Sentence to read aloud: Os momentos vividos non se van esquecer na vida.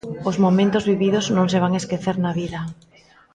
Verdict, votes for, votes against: accepted, 3, 1